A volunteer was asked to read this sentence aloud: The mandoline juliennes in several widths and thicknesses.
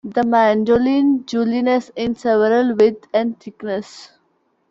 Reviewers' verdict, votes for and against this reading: rejected, 0, 2